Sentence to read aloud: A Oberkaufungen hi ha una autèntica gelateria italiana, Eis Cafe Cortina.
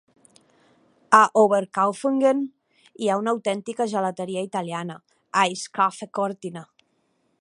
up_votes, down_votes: 2, 0